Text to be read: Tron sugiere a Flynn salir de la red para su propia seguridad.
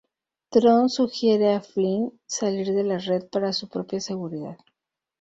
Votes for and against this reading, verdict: 2, 0, accepted